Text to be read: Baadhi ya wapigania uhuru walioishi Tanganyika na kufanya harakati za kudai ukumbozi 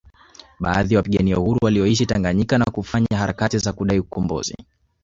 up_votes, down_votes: 1, 2